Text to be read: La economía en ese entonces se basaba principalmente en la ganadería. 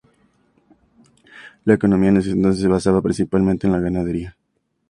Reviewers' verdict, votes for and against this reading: accepted, 2, 0